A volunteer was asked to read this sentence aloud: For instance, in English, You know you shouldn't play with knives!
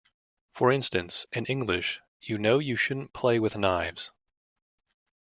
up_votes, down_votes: 2, 0